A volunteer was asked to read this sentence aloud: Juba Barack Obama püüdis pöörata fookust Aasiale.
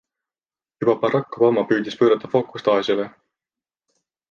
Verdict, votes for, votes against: accepted, 2, 0